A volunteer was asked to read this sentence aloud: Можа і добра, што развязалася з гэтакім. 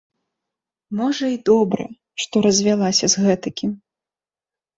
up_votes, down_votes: 0, 2